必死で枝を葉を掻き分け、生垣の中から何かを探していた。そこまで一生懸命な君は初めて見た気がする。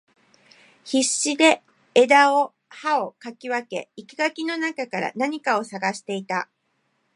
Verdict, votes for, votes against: rejected, 1, 2